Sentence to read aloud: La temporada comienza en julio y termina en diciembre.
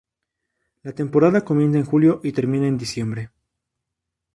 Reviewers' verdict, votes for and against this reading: accepted, 4, 0